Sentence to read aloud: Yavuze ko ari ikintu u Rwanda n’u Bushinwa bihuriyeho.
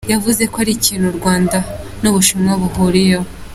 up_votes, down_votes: 2, 1